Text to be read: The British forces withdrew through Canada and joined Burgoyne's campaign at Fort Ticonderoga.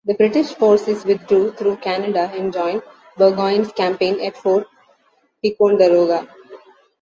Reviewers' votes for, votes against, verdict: 2, 1, accepted